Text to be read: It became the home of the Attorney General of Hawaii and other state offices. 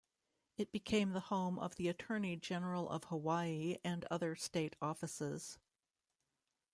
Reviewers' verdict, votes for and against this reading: accepted, 2, 1